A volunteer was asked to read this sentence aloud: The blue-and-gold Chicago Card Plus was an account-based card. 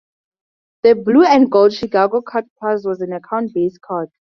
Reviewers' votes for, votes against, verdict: 10, 2, accepted